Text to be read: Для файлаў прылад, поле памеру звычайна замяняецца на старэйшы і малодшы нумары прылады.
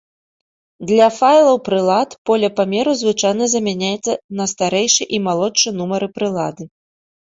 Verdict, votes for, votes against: rejected, 0, 2